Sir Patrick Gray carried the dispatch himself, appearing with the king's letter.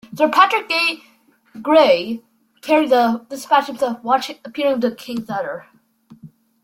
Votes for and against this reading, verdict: 0, 2, rejected